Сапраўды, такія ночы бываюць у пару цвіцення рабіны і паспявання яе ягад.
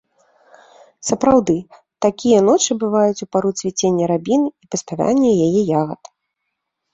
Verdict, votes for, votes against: accepted, 2, 0